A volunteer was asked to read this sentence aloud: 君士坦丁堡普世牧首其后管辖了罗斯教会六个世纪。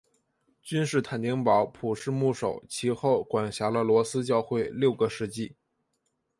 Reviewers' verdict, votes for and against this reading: accepted, 2, 0